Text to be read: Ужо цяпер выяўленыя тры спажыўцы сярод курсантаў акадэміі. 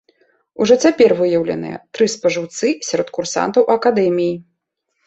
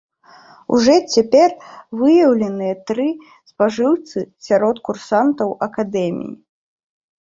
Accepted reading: first